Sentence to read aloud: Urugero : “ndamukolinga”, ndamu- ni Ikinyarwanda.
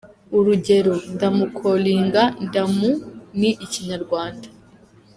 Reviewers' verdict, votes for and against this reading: accepted, 2, 0